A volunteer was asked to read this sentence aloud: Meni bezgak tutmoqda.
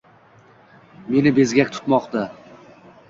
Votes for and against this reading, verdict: 2, 0, accepted